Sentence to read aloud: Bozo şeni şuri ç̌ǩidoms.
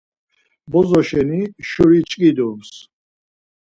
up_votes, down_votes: 4, 0